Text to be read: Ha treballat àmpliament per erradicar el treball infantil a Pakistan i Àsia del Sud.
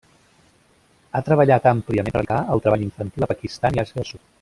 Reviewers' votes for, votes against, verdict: 0, 2, rejected